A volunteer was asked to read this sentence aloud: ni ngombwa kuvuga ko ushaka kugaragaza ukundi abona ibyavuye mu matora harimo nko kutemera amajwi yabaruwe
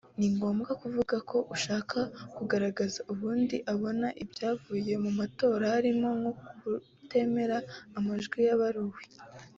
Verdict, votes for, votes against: accepted, 3, 0